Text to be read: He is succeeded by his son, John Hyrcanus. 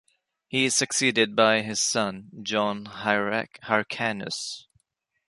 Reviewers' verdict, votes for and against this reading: rejected, 0, 3